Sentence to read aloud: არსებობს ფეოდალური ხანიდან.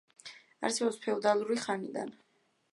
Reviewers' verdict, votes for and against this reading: accepted, 2, 0